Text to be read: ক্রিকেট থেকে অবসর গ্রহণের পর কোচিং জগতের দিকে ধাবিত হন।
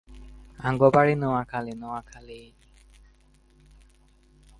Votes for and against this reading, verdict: 0, 2, rejected